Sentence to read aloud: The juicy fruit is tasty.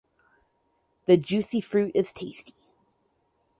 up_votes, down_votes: 4, 0